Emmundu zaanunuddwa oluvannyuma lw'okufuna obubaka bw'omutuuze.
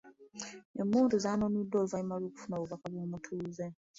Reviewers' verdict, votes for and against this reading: rejected, 0, 2